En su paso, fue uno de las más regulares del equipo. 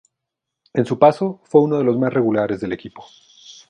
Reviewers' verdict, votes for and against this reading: accepted, 4, 0